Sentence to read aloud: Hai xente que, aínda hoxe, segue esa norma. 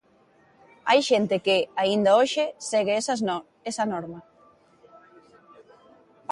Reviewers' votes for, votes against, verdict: 0, 2, rejected